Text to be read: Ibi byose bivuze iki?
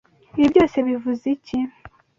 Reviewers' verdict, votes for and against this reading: accepted, 2, 0